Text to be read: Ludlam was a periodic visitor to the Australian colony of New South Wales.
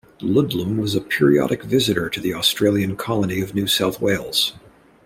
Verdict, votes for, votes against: accepted, 2, 0